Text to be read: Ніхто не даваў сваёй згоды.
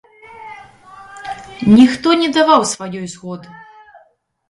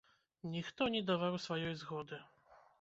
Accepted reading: first